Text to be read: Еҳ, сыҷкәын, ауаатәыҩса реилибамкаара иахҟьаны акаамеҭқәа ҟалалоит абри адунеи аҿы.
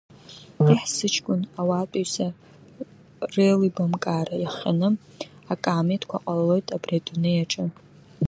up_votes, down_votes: 0, 2